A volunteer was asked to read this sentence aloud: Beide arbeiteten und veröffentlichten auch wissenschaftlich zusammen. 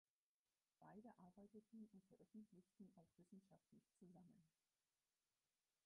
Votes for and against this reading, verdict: 0, 4, rejected